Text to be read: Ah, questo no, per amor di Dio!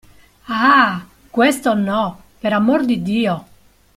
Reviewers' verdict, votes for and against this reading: accepted, 2, 0